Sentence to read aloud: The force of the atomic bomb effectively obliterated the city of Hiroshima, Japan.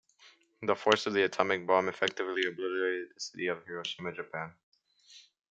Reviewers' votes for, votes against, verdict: 2, 0, accepted